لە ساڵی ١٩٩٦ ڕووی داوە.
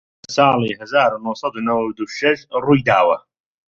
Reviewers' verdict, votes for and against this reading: rejected, 0, 2